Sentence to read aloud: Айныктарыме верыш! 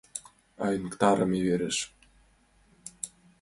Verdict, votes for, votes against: accepted, 2, 1